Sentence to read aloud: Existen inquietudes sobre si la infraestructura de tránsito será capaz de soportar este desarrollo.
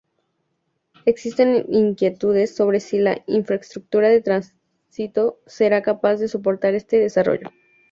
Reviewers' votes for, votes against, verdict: 2, 0, accepted